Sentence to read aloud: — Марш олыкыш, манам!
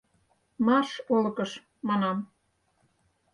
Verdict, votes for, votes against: accepted, 4, 0